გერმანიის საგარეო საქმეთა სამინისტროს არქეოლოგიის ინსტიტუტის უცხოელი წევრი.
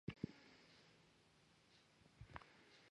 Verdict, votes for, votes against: rejected, 0, 2